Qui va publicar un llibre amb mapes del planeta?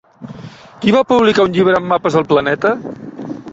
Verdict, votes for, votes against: accepted, 2, 0